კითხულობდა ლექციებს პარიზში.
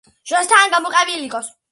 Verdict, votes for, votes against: rejected, 0, 2